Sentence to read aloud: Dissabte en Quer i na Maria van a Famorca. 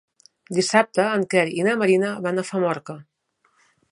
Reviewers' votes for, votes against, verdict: 3, 4, rejected